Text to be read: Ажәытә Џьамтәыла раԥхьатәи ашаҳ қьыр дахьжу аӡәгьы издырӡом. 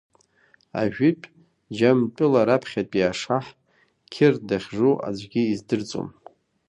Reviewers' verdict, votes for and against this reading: accepted, 2, 1